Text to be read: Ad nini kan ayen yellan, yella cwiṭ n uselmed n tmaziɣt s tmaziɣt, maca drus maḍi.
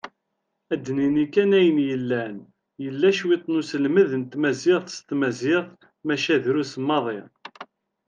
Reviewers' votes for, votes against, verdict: 2, 1, accepted